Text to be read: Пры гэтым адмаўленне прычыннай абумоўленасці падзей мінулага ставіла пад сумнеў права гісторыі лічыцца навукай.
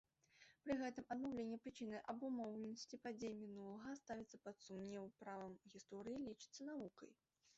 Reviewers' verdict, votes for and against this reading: rejected, 0, 2